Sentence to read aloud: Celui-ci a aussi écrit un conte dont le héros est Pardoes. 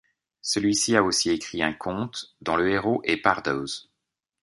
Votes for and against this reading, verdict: 2, 0, accepted